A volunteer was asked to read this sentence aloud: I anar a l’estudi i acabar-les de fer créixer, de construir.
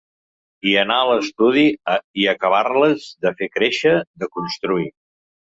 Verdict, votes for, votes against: rejected, 3, 4